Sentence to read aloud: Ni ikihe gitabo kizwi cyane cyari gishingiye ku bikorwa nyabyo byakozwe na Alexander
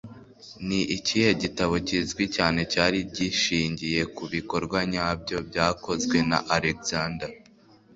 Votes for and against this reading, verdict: 3, 0, accepted